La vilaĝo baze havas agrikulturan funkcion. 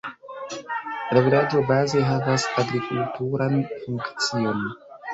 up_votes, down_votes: 2, 0